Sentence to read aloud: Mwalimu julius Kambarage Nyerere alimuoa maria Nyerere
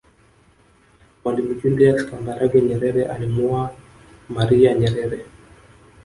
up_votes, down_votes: 1, 2